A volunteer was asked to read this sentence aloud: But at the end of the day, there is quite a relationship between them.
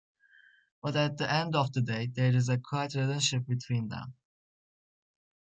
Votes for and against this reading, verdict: 1, 2, rejected